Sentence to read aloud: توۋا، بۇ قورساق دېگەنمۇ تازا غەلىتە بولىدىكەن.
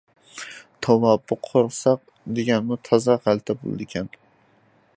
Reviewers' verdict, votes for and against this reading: accepted, 2, 1